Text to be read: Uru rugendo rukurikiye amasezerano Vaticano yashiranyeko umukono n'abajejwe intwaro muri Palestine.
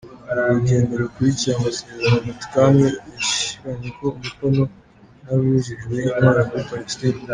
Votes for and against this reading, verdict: 0, 2, rejected